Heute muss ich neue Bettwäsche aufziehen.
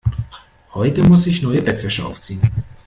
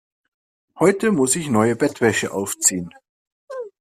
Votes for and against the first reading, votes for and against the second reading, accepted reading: 1, 2, 2, 0, second